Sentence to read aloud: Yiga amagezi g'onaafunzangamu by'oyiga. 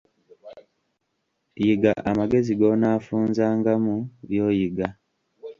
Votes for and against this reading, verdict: 2, 1, accepted